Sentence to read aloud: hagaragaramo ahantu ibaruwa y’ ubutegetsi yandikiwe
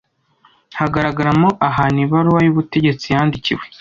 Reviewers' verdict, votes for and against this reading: accepted, 2, 0